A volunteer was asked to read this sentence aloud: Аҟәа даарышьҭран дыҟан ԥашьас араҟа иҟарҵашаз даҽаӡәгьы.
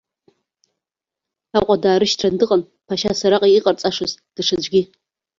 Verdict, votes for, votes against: accepted, 2, 1